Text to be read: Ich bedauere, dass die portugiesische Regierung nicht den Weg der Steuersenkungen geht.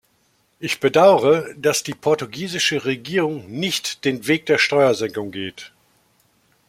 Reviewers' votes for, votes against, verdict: 1, 2, rejected